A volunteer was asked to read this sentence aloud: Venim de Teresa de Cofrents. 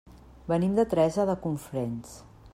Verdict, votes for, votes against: rejected, 0, 2